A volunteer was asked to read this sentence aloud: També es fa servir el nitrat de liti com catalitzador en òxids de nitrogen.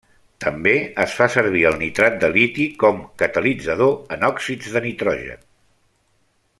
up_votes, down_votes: 3, 0